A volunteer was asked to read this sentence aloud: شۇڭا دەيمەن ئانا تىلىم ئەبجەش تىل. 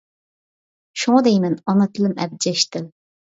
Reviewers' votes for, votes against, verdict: 2, 0, accepted